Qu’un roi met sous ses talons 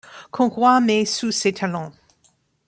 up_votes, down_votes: 1, 2